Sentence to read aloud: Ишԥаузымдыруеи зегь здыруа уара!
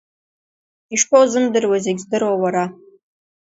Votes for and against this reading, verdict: 2, 0, accepted